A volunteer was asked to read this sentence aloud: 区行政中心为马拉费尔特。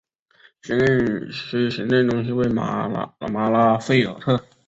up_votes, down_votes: 1, 5